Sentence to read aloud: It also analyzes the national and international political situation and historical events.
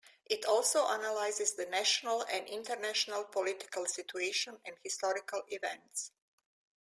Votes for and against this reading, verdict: 2, 0, accepted